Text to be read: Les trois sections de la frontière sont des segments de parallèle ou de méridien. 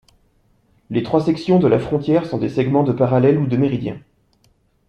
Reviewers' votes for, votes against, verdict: 2, 0, accepted